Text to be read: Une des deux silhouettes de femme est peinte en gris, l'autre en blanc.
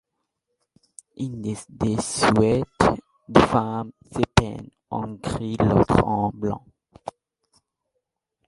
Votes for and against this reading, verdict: 0, 2, rejected